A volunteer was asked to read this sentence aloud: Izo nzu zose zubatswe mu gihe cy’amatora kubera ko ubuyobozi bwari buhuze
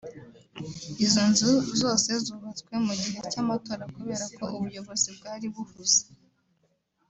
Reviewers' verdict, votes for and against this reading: accepted, 2, 1